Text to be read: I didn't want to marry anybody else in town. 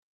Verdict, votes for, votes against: rejected, 0, 2